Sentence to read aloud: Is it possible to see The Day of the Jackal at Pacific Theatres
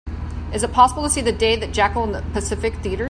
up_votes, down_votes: 0, 2